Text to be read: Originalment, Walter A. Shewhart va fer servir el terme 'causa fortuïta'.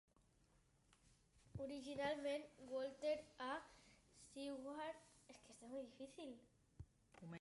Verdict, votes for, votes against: rejected, 1, 3